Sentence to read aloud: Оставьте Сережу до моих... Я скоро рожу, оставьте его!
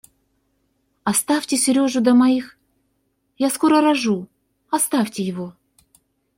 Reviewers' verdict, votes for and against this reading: accepted, 2, 0